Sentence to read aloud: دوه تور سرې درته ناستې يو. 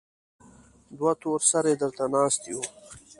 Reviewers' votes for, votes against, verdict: 2, 0, accepted